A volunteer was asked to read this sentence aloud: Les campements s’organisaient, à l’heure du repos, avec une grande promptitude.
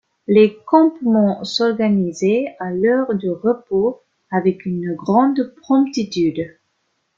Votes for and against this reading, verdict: 2, 0, accepted